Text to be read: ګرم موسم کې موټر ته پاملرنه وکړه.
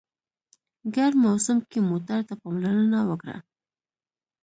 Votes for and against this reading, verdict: 2, 1, accepted